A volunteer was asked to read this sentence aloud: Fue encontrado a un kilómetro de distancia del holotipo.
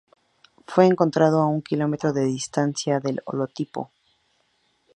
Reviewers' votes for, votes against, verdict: 4, 0, accepted